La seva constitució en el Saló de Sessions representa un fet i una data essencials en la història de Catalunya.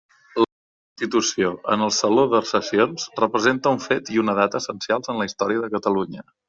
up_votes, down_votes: 0, 2